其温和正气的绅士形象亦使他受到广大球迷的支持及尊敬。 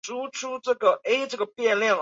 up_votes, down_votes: 0, 3